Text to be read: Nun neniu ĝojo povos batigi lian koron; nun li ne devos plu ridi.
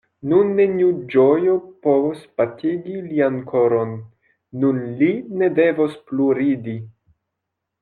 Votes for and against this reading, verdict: 2, 0, accepted